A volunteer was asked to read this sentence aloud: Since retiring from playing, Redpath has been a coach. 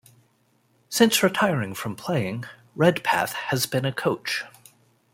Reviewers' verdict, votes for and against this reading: accepted, 2, 0